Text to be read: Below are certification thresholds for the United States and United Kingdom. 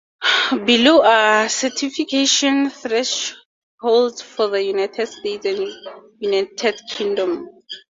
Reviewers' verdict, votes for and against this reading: accepted, 2, 0